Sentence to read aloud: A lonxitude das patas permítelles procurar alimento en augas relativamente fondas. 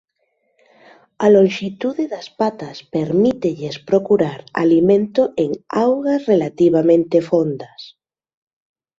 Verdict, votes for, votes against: accepted, 2, 0